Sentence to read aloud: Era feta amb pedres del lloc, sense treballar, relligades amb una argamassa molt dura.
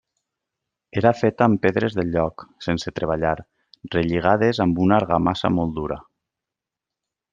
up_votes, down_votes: 2, 0